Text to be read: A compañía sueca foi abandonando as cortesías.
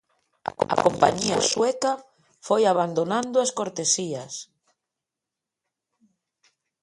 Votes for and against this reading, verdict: 0, 2, rejected